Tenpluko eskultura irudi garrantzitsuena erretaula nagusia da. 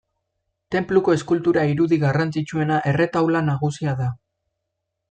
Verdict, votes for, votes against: accepted, 2, 0